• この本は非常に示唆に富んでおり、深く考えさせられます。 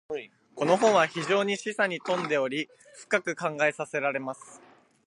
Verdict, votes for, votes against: accepted, 2, 0